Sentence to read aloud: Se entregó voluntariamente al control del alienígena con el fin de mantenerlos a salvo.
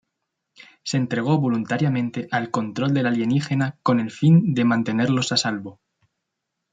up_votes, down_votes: 3, 0